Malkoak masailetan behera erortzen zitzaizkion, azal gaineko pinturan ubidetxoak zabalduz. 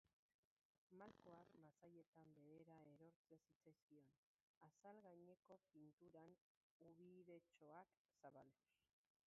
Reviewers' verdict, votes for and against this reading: rejected, 0, 2